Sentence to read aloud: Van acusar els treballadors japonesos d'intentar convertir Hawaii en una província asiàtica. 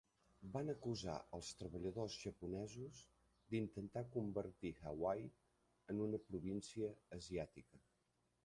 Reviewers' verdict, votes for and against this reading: rejected, 0, 2